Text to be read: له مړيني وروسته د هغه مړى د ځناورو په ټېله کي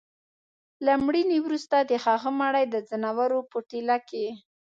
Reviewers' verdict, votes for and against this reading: accepted, 2, 0